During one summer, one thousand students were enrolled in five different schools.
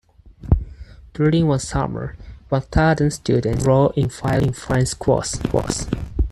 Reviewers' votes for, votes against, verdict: 2, 4, rejected